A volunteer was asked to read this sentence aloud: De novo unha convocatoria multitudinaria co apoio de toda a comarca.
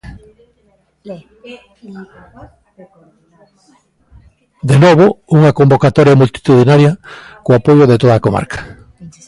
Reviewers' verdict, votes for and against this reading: rejected, 0, 2